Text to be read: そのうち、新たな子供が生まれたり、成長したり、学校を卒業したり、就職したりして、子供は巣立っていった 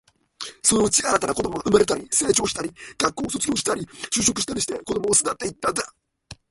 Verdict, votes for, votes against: rejected, 0, 2